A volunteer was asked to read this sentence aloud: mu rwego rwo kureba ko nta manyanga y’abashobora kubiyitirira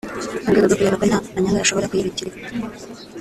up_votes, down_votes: 0, 2